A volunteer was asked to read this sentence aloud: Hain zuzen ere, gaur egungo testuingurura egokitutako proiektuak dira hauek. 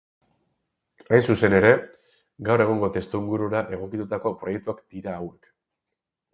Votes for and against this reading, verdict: 4, 0, accepted